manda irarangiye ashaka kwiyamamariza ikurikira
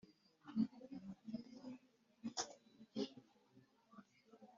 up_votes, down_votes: 1, 3